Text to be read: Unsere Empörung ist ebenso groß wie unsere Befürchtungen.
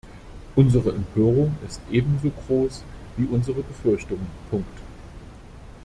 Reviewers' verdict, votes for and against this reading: rejected, 1, 2